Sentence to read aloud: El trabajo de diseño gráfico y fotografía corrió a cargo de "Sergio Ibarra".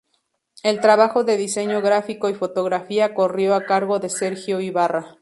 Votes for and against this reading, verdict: 2, 0, accepted